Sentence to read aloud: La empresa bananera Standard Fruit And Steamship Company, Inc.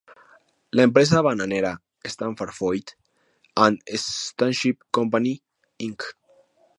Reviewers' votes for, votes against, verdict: 2, 2, rejected